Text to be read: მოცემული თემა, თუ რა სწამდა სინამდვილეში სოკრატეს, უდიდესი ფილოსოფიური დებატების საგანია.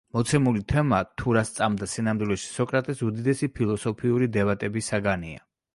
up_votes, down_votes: 2, 0